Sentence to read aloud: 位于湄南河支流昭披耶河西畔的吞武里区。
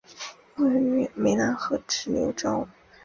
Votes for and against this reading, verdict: 0, 2, rejected